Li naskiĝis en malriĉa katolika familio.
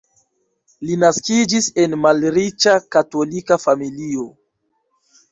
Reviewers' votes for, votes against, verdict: 2, 0, accepted